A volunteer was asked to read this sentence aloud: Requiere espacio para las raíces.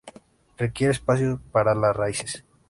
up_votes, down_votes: 3, 0